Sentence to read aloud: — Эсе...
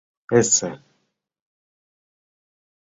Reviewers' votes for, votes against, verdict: 2, 0, accepted